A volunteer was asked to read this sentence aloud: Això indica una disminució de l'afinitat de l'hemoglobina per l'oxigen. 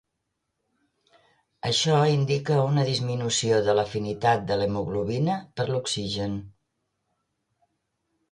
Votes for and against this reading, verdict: 3, 0, accepted